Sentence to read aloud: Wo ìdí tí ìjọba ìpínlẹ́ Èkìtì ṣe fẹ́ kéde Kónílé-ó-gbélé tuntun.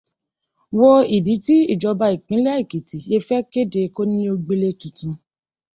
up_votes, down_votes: 2, 0